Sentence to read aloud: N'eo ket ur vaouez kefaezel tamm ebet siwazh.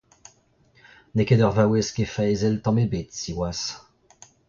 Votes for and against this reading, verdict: 0, 2, rejected